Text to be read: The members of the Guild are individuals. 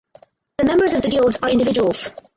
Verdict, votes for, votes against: rejected, 2, 4